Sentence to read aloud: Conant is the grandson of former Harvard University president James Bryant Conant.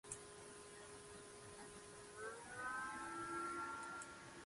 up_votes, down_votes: 0, 2